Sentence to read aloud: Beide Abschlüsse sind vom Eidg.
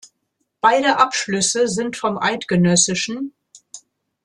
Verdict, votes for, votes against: rejected, 0, 2